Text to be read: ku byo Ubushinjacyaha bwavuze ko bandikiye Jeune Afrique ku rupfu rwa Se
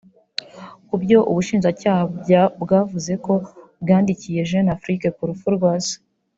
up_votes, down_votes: 2, 3